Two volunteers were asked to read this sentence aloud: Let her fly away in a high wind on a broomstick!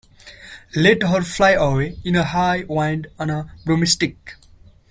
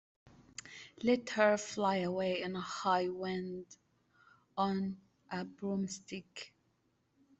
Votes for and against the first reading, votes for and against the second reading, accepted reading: 0, 2, 2, 0, second